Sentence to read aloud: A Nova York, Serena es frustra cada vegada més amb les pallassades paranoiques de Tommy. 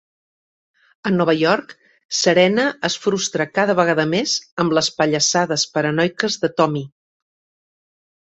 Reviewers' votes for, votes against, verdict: 3, 0, accepted